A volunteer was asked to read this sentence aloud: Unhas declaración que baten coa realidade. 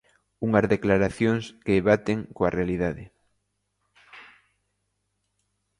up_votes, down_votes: 2, 1